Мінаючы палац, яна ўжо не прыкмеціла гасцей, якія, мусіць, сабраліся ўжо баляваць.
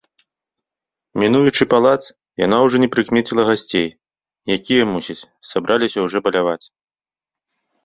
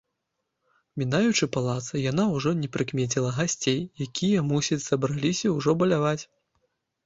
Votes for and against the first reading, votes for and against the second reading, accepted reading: 1, 2, 2, 0, second